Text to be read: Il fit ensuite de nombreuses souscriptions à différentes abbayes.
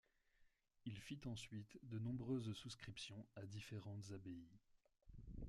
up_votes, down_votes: 2, 0